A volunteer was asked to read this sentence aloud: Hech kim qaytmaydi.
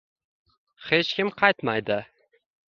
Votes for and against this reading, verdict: 1, 2, rejected